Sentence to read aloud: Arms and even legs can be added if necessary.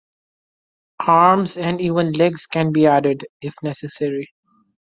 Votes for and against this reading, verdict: 2, 0, accepted